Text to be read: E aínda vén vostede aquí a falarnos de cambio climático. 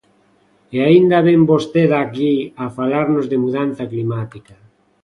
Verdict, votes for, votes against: rejected, 0, 2